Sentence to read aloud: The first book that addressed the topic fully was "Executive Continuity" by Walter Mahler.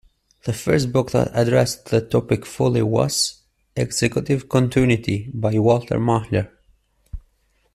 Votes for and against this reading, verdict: 1, 2, rejected